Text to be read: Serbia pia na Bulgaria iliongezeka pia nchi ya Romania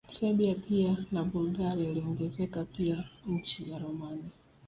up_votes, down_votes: 7, 1